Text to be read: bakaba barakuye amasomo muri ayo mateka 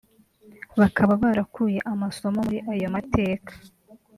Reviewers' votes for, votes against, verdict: 0, 2, rejected